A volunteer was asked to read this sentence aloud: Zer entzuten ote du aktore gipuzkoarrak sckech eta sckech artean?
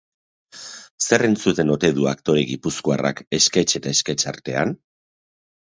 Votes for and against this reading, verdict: 2, 0, accepted